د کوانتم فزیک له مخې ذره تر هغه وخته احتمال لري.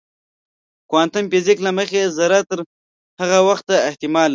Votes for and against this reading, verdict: 1, 2, rejected